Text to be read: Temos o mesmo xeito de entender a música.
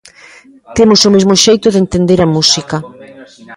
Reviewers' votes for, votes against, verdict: 1, 2, rejected